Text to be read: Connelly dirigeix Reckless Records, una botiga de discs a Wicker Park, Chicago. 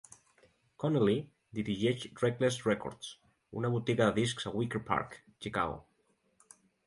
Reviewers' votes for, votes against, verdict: 2, 0, accepted